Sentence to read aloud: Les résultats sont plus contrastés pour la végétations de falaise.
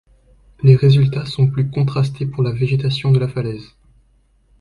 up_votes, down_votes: 0, 2